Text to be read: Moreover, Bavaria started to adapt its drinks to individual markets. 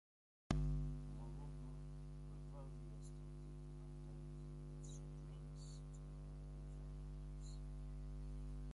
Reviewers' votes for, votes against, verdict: 0, 2, rejected